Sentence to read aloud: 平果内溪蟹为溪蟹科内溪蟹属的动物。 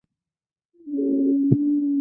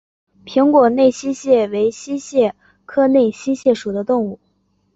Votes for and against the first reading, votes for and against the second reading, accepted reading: 0, 2, 3, 0, second